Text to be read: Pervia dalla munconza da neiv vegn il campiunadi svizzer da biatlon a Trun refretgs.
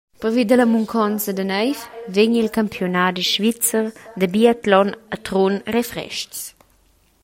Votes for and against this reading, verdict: 0, 2, rejected